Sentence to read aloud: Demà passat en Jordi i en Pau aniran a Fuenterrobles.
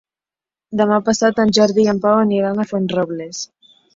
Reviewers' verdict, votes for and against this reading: rejected, 0, 2